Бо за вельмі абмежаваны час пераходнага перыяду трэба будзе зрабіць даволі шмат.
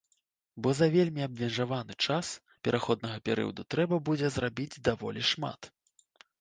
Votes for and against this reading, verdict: 2, 0, accepted